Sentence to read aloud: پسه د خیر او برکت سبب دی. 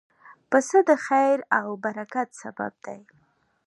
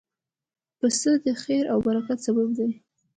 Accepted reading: first